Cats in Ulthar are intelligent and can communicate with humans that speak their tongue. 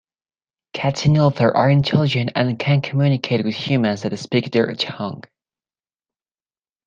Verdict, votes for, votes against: accepted, 2, 0